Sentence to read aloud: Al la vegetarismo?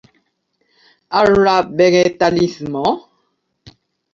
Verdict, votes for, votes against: rejected, 0, 2